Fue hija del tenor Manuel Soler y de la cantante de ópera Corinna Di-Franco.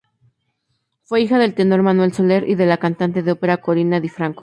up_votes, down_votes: 2, 0